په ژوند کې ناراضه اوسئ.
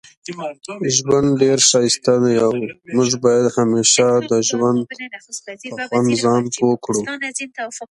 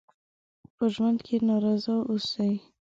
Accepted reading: second